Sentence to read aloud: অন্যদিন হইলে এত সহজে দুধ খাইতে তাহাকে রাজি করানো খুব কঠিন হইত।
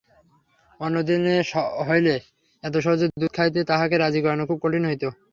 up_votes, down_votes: 0, 3